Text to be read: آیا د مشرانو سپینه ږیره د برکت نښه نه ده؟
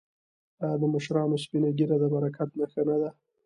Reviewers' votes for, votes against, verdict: 2, 0, accepted